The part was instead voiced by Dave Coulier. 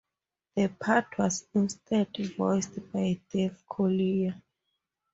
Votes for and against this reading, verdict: 2, 0, accepted